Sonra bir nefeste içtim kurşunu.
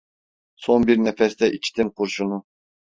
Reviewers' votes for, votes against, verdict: 1, 2, rejected